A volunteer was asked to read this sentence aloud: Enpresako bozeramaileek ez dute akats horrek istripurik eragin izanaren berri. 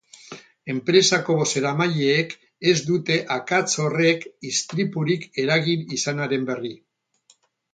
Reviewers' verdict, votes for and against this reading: rejected, 2, 2